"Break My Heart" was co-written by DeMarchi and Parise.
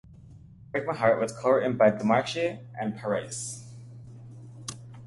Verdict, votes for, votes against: accepted, 2, 0